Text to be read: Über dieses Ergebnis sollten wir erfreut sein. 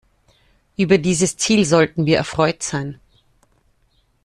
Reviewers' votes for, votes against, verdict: 0, 2, rejected